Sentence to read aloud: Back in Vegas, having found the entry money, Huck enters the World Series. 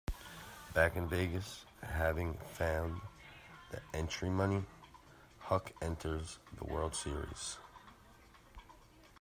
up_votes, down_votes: 2, 0